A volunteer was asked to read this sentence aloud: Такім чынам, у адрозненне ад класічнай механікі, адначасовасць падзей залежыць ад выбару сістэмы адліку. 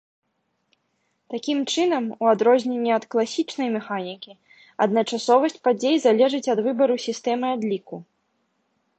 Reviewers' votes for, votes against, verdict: 2, 0, accepted